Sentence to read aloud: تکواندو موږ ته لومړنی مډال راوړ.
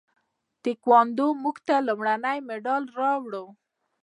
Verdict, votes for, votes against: accepted, 2, 1